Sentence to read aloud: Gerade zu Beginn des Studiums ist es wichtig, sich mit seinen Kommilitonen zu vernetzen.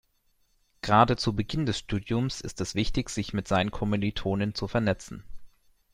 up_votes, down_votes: 0, 2